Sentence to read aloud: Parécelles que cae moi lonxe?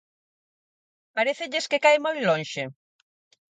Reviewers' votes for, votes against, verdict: 4, 0, accepted